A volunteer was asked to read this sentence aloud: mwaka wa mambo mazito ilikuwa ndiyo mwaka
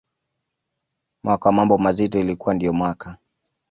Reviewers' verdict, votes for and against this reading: accepted, 2, 0